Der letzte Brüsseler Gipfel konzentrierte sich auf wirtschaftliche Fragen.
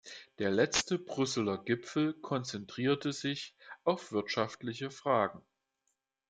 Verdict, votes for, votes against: accepted, 2, 0